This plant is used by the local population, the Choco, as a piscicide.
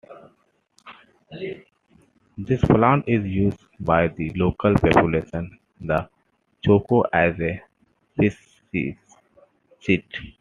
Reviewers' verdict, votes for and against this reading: rejected, 0, 2